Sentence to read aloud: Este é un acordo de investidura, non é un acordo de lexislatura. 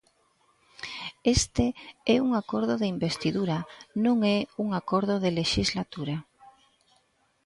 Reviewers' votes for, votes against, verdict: 2, 0, accepted